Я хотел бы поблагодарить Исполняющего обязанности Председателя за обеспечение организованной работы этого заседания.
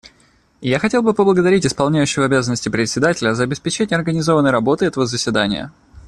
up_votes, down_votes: 2, 0